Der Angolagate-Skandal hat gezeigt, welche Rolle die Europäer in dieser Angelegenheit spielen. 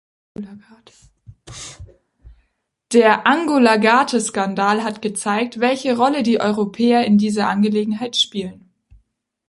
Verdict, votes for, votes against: rejected, 1, 2